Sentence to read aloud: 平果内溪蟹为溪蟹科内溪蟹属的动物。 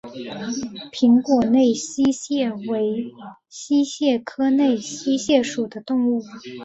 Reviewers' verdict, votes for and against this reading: accepted, 7, 0